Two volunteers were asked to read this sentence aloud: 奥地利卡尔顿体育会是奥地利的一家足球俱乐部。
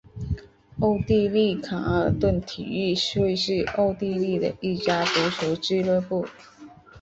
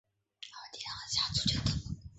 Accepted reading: first